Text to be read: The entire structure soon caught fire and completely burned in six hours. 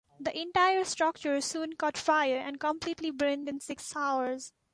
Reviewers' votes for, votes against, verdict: 2, 0, accepted